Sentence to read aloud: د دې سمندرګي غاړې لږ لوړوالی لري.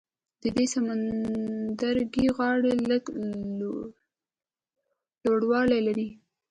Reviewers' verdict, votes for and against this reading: accepted, 2, 0